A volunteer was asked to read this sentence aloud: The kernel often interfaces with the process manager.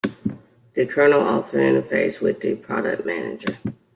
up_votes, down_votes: 1, 2